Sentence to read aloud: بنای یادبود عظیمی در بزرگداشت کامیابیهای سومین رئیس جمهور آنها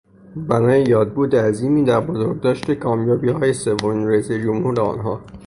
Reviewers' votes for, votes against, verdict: 3, 0, accepted